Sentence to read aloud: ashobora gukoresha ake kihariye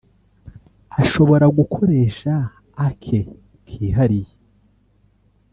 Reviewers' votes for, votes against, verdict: 1, 2, rejected